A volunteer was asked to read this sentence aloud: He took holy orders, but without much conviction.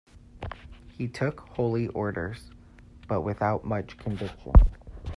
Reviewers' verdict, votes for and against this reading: rejected, 1, 2